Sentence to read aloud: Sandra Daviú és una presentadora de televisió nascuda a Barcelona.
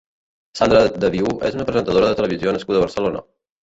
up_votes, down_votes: 0, 2